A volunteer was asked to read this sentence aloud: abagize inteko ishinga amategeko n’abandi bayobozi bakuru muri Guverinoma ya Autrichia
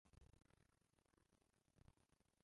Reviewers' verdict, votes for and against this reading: rejected, 0, 2